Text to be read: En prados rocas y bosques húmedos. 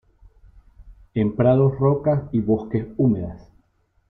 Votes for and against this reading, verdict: 1, 2, rejected